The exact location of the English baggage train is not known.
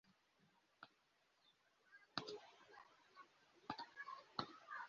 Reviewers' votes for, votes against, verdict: 1, 2, rejected